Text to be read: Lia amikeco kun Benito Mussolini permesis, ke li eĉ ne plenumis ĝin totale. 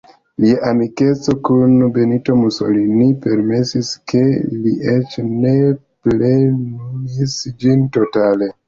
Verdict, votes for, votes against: accepted, 2, 0